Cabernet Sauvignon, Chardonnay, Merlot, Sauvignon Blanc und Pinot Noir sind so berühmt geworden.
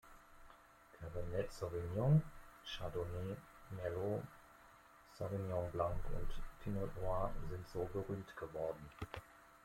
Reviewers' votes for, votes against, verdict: 0, 2, rejected